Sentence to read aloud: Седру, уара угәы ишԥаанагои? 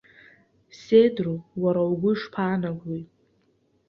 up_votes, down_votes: 2, 0